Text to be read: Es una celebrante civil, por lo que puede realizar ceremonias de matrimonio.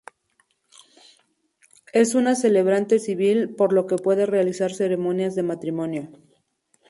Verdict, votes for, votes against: accepted, 2, 0